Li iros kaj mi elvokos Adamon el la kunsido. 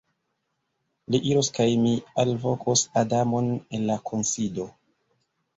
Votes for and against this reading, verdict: 1, 2, rejected